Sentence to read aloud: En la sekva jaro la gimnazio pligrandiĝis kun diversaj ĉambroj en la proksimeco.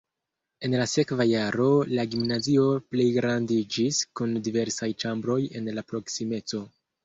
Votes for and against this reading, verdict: 0, 2, rejected